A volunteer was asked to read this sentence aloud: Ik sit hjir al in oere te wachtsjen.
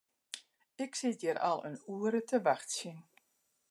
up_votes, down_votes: 2, 0